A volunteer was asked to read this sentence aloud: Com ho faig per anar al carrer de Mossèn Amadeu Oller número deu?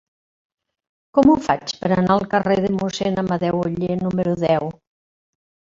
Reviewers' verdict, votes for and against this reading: rejected, 1, 2